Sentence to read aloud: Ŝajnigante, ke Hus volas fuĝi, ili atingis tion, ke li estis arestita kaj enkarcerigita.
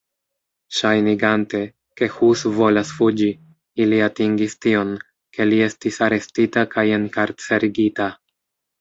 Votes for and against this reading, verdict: 1, 2, rejected